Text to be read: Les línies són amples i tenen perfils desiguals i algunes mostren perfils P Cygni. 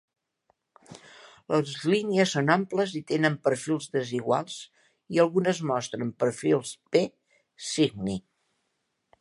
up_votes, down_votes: 2, 1